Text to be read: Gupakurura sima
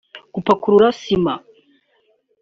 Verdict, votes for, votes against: accepted, 2, 1